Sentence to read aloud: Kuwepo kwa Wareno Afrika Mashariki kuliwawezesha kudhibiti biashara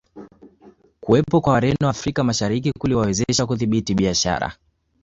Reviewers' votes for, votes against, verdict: 2, 0, accepted